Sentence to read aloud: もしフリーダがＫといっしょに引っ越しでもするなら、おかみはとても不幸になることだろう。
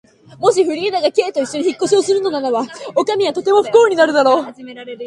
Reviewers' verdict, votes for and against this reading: rejected, 2, 2